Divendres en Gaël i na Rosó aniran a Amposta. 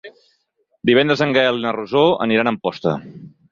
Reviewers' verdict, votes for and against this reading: accepted, 6, 0